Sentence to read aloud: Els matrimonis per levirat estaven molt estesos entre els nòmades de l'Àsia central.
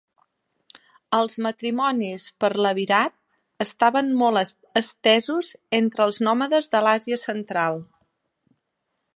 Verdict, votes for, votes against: rejected, 1, 2